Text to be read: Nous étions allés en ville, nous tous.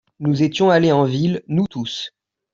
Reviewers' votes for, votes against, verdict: 2, 0, accepted